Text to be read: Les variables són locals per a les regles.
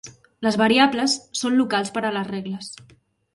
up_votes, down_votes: 3, 0